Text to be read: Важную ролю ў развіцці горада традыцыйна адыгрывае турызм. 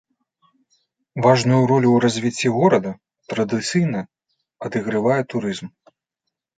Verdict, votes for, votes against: rejected, 0, 2